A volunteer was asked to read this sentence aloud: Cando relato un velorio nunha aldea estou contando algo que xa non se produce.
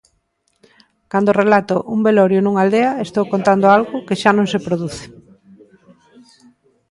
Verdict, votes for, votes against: accepted, 2, 0